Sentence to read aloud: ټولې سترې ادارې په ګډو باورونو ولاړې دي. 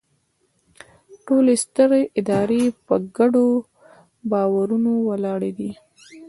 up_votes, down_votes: 2, 0